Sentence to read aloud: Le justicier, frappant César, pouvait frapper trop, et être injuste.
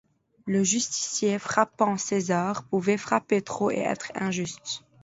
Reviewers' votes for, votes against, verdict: 2, 0, accepted